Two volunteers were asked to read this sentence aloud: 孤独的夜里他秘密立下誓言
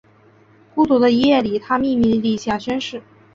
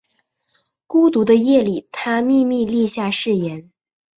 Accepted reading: second